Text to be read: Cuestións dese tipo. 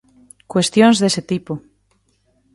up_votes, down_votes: 2, 0